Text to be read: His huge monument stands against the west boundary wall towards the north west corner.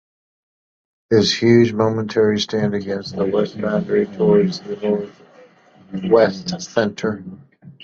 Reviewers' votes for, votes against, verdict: 0, 2, rejected